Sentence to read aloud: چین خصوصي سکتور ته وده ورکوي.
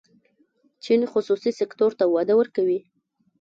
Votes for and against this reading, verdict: 1, 2, rejected